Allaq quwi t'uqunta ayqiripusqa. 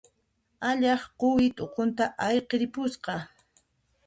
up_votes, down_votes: 2, 1